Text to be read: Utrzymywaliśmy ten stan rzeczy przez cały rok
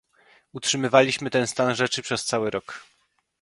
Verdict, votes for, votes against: accepted, 2, 0